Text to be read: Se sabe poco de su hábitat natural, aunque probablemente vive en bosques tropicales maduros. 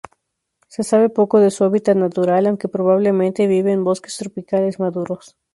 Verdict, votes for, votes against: rejected, 2, 2